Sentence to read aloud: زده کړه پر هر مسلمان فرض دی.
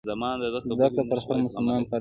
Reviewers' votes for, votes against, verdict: 1, 2, rejected